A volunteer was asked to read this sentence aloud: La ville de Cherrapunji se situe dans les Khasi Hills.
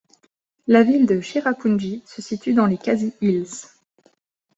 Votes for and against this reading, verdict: 2, 0, accepted